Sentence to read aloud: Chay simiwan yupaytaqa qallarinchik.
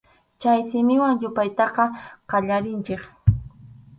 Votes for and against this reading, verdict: 4, 0, accepted